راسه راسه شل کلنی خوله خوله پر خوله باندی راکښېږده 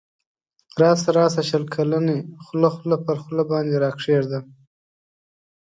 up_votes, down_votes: 2, 0